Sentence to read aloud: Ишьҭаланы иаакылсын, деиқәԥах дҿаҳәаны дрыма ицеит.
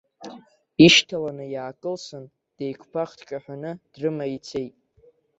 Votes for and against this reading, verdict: 2, 0, accepted